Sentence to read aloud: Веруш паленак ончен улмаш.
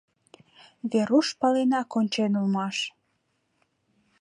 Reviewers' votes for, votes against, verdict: 2, 0, accepted